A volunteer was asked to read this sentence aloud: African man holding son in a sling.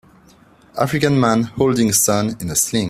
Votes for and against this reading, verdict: 2, 0, accepted